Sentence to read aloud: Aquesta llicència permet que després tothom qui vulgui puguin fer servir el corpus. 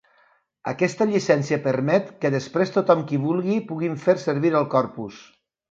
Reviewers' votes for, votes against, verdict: 3, 0, accepted